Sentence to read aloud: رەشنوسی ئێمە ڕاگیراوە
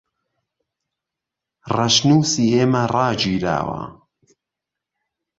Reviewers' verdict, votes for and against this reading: accepted, 2, 1